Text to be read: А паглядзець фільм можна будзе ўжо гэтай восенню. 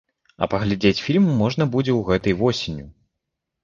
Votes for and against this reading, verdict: 0, 2, rejected